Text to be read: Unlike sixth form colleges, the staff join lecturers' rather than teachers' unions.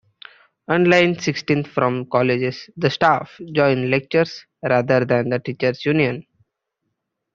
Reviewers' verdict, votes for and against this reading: rejected, 0, 2